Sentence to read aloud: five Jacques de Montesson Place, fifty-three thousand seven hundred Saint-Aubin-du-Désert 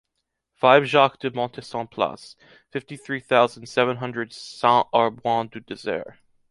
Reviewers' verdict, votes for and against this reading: accepted, 2, 0